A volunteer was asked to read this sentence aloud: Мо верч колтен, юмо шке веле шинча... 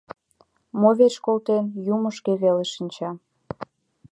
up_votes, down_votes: 2, 0